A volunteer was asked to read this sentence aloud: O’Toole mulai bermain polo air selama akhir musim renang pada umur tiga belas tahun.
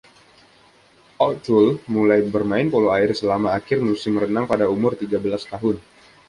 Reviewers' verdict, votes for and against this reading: accepted, 2, 0